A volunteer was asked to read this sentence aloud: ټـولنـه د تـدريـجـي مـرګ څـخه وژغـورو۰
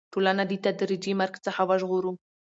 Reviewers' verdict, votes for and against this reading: rejected, 0, 2